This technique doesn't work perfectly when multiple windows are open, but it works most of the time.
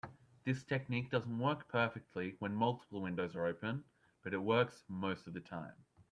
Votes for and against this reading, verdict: 2, 0, accepted